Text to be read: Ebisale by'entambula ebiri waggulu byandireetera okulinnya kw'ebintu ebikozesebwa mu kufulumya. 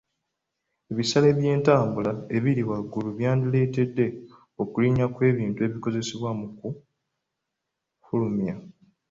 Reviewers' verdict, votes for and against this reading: rejected, 1, 3